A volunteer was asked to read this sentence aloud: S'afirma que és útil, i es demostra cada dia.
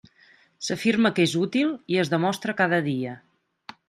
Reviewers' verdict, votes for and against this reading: accepted, 3, 0